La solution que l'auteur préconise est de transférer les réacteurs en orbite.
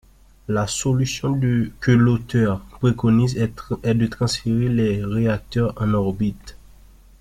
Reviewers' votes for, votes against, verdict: 0, 2, rejected